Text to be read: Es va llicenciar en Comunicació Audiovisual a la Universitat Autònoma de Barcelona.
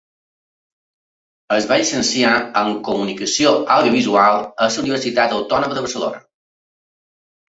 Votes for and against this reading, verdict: 0, 2, rejected